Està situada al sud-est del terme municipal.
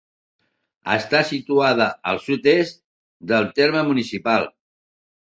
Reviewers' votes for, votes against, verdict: 2, 0, accepted